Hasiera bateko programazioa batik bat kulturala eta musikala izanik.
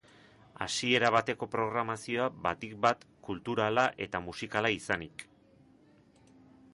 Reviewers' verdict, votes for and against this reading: accepted, 4, 0